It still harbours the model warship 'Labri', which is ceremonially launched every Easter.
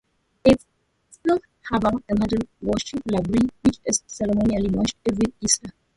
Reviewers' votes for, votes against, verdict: 0, 2, rejected